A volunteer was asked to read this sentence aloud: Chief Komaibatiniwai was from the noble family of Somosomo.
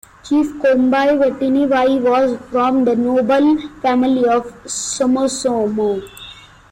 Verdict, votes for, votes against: accepted, 2, 1